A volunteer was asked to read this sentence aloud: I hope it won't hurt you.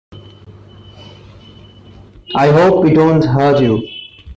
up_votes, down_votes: 2, 0